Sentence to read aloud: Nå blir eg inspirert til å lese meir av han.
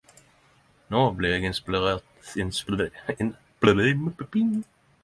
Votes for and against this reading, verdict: 0, 10, rejected